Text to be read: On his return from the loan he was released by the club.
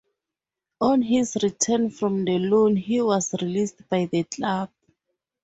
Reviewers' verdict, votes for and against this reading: accepted, 4, 0